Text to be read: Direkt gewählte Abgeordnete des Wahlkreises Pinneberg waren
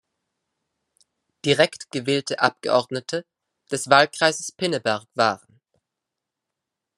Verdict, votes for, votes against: accepted, 2, 0